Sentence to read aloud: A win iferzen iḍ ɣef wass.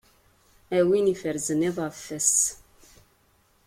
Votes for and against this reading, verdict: 2, 0, accepted